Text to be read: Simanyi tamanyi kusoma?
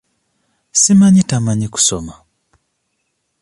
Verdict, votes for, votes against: accepted, 2, 0